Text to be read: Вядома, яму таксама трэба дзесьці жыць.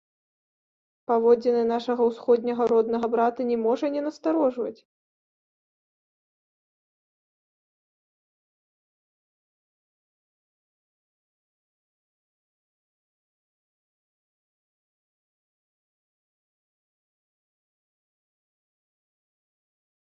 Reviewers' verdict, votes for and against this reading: rejected, 0, 2